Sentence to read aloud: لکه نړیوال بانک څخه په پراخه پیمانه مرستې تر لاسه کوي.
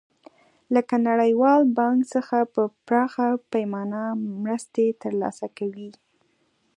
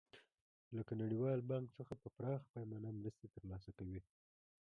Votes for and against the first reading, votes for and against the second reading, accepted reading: 2, 1, 1, 2, first